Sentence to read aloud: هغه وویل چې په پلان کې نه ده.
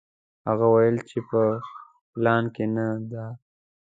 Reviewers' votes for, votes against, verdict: 2, 0, accepted